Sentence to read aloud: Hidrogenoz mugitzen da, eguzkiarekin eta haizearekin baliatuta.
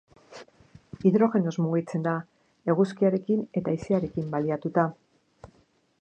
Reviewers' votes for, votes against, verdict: 4, 0, accepted